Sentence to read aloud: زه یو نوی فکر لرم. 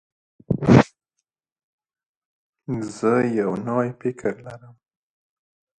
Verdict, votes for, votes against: rejected, 1, 3